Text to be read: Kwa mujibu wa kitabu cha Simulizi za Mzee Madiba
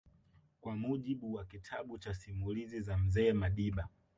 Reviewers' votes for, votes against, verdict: 0, 2, rejected